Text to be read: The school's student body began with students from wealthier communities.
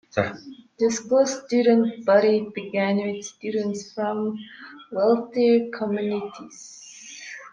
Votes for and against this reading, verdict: 0, 2, rejected